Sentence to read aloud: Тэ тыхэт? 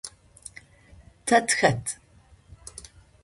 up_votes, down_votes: 2, 0